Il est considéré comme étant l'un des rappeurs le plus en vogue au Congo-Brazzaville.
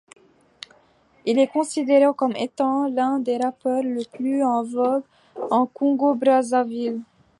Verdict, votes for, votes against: rejected, 0, 2